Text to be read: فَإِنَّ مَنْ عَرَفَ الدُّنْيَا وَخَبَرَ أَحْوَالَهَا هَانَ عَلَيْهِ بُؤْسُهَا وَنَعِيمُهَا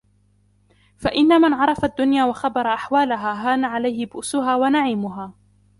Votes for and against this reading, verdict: 0, 2, rejected